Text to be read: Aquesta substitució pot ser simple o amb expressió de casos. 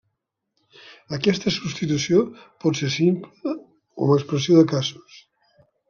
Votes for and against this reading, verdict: 2, 0, accepted